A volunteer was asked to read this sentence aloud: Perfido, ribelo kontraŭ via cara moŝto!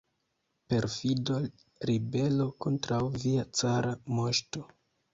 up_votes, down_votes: 2, 0